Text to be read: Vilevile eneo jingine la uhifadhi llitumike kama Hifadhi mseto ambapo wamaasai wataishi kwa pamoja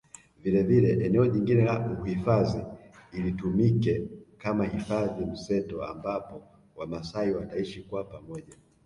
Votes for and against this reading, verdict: 2, 1, accepted